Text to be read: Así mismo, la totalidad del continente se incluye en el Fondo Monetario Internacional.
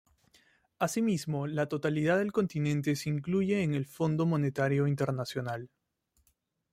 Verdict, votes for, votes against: accepted, 2, 0